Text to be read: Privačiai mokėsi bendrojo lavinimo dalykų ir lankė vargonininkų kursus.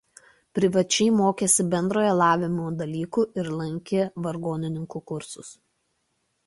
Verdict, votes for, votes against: rejected, 1, 2